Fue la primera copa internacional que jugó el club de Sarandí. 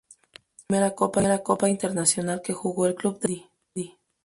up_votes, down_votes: 0, 2